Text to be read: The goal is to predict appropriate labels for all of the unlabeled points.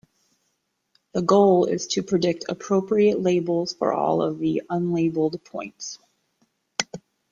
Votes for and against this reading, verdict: 2, 1, accepted